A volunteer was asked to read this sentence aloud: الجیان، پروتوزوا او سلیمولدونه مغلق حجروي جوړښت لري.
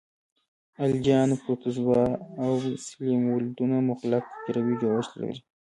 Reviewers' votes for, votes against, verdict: 2, 0, accepted